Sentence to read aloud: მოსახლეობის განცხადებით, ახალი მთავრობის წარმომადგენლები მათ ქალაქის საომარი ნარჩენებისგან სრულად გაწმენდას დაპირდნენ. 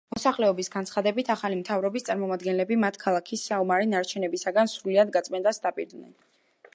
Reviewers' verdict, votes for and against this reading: rejected, 0, 2